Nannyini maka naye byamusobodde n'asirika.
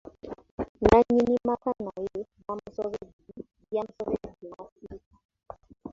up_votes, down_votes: 0, 2